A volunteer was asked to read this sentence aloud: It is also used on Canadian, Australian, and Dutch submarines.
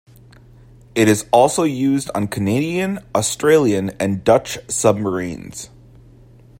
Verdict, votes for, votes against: accepted, 2, 1